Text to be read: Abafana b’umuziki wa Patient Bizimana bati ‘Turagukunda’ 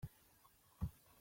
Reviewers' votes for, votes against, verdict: 1, 2, rejected